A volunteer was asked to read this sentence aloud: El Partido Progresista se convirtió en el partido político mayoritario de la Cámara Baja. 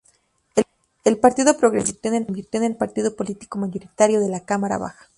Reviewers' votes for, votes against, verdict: 0, 2, rejected